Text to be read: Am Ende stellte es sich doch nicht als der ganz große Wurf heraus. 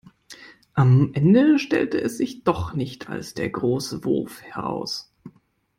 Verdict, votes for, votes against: rejected, 0, 2